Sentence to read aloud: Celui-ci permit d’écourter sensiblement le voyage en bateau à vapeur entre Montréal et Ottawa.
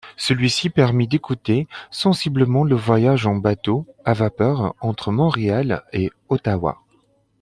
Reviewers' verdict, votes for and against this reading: rejected, 1, 2